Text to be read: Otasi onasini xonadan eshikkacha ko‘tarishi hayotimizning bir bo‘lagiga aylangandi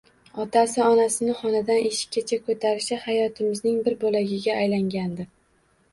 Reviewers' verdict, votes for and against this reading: rejected, 1, 2